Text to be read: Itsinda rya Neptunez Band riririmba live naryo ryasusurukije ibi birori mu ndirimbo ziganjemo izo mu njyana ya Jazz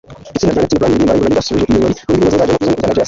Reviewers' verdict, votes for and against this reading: rejected, 0, 2